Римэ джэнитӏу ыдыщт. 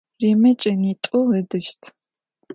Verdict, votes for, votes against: accepted, 2, 0